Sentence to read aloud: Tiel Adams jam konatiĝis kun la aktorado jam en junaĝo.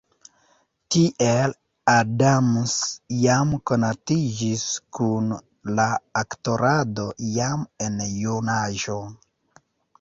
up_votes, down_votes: 0, 2